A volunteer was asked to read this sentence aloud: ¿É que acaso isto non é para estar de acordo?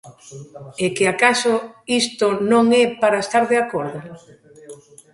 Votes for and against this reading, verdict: 2, 1, accepted